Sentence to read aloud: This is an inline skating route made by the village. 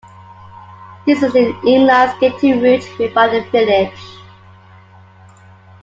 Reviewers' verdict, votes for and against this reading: accepted, 3, 1